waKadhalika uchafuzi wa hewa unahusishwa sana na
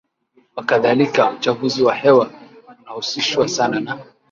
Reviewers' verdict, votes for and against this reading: accepted, 3, 1